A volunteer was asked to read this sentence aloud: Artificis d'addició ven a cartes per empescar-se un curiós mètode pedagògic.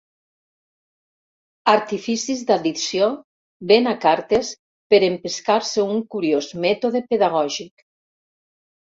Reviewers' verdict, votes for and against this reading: rejected, 1, 2